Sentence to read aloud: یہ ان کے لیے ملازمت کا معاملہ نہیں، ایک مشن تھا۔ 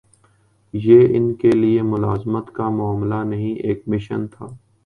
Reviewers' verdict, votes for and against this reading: accepted, 2, 0